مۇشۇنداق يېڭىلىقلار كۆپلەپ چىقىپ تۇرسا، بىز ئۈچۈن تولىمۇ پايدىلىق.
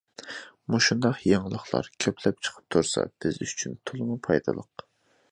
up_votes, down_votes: 2, 0